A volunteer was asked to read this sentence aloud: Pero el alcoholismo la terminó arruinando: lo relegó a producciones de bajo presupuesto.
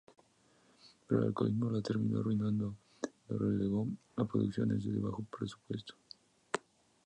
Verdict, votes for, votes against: accepted, 2, 0